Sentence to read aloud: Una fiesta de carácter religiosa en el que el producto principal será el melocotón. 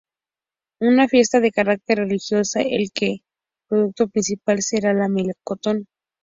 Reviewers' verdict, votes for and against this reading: accepted, 2, 0